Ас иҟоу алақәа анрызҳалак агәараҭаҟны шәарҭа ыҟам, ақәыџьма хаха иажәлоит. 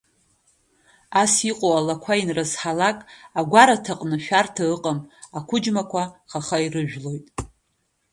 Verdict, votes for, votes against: accepted, 3, 2